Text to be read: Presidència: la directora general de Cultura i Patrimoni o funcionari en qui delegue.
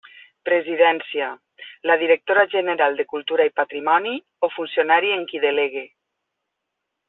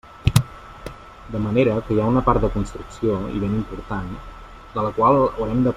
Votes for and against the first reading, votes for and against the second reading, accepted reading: 3, 0, 0, 2, first